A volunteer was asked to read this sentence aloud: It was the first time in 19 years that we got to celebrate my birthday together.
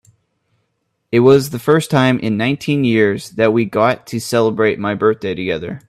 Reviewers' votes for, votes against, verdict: 0, 2, rejected